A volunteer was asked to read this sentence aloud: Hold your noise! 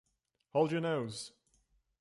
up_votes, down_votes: 0, 2